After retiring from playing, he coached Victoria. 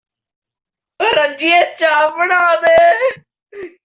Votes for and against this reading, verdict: 0, 2, rejected